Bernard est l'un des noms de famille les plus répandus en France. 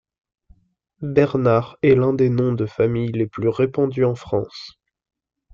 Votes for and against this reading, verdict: 2, 0, accepted